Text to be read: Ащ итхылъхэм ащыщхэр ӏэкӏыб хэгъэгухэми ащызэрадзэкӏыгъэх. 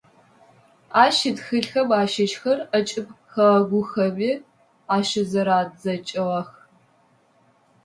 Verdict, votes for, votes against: accepted, 2, 0